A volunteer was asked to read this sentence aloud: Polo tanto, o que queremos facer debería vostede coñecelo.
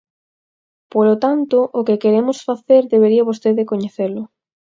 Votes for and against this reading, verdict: 4, 0, accepted